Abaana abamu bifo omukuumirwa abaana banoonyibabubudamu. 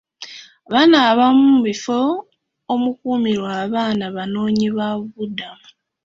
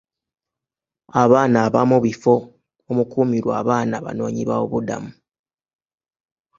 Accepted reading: second